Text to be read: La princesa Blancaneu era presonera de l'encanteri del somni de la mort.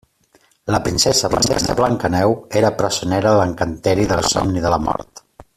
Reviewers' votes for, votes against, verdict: 0, 2, rejected